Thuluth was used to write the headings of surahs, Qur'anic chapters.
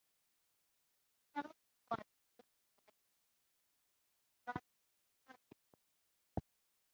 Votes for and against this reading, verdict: 0, 3, rejected